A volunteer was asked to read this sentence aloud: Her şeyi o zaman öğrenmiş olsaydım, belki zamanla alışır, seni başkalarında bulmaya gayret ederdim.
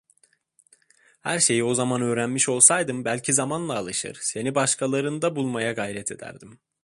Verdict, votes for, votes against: accepted, 2, 0